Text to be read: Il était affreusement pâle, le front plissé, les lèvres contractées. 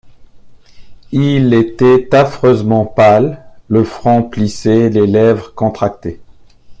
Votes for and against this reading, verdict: 1, 2, rejected